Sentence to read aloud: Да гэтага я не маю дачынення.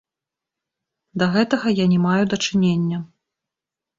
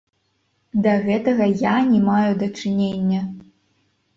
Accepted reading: first